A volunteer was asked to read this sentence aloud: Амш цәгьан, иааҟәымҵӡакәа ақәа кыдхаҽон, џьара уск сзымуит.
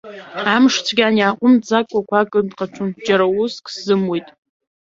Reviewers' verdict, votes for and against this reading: accepted, 2, 0